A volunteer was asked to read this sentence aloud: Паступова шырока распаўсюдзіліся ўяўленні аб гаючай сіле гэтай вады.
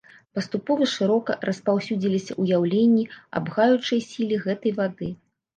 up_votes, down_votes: 1, 2